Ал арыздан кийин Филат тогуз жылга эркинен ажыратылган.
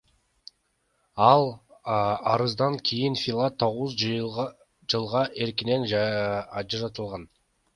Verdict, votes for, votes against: accepted, 2, 1